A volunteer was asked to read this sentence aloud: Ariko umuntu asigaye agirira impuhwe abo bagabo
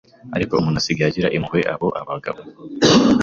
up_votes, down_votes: 2, 1